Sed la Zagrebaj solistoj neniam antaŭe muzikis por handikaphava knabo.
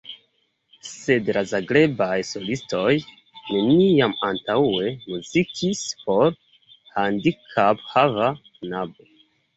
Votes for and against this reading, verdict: 2, 0, accepted